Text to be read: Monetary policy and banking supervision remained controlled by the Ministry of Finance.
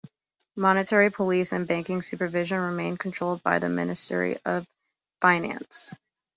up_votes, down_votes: 0, 2